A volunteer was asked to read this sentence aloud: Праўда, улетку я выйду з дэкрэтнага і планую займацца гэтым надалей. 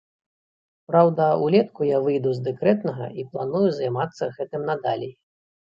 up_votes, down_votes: 0, 2